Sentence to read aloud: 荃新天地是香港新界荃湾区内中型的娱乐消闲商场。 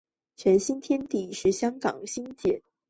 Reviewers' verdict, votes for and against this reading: rejected, 0, 2